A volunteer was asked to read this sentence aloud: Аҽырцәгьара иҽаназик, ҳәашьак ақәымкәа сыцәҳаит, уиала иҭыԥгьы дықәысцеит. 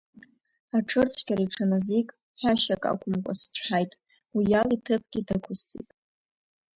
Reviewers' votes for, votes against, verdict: 2, 1, accepted